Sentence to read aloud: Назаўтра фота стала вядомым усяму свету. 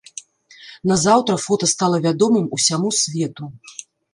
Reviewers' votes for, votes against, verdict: 2, 0, accepted